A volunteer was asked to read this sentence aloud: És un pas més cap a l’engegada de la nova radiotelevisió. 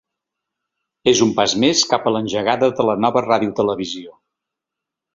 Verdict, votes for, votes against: accepted, 2, 0